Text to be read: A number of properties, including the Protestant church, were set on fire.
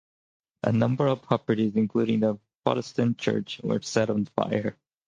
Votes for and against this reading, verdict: 2, 0, accepted